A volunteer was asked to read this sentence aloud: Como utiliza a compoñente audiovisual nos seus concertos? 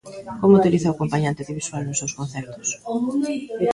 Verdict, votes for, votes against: rejected, 0, 2